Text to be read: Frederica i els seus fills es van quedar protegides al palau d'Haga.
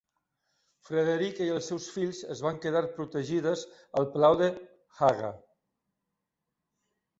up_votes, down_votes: 0, 2